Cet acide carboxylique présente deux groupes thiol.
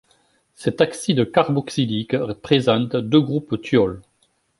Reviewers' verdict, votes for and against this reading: rejected, 0, 2